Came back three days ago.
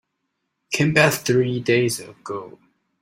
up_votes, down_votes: 1, 2